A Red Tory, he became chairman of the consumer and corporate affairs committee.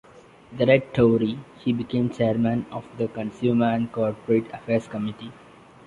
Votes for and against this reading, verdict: 0, 2, rejected